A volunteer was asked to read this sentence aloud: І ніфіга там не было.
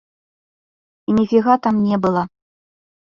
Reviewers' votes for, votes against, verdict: 0, 2, rejected